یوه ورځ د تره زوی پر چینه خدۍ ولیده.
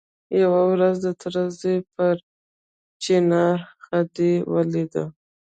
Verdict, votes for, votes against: accepted, 2, 0